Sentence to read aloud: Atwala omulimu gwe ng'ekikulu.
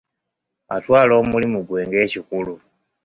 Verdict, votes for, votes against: accepted, 2, 0